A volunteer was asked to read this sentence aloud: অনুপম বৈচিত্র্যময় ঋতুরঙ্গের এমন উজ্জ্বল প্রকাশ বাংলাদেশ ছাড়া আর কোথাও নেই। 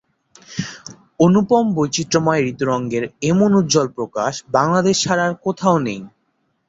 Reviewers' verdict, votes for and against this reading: accepted, 2, 0